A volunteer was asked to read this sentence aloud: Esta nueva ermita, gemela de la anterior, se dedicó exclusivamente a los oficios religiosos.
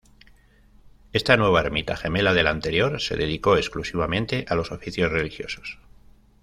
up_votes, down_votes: 2, 1